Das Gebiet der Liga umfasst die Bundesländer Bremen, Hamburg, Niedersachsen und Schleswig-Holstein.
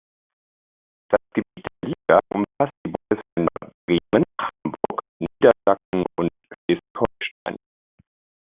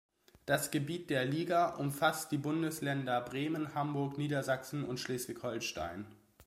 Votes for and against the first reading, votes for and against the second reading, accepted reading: 0, 2, 2, 0, second